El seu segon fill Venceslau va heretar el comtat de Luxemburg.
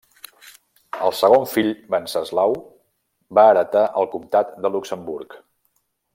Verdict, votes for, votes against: rejected, 0, 2